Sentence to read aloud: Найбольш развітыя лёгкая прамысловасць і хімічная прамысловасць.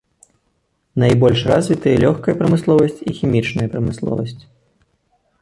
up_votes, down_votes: 2, 0